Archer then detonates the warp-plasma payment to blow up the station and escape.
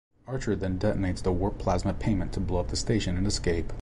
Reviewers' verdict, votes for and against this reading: accepted, 2, 0